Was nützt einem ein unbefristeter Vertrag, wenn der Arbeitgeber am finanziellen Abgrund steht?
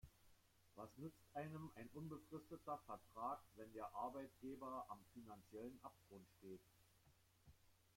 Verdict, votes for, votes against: rejected, 1, 2